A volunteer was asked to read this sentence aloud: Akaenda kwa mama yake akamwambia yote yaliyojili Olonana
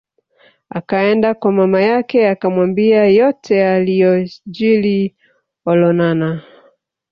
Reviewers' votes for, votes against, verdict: 2, 1, accepted